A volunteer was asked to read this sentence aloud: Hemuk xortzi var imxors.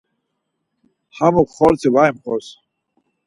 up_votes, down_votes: 4, 0